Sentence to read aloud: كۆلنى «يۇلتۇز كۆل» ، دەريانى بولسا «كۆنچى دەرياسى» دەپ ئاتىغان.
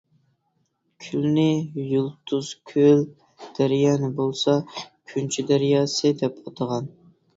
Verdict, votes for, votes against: rejected, 1, 2